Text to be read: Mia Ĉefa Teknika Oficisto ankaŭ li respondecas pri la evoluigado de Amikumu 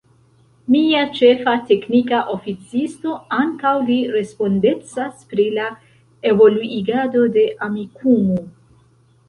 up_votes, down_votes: 3, 1